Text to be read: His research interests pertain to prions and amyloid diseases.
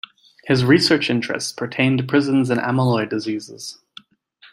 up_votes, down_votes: 0, 2